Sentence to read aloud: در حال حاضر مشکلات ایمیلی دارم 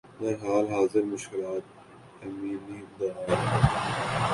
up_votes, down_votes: 2, 7